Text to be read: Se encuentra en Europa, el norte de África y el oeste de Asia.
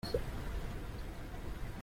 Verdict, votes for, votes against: rejected, 0, 2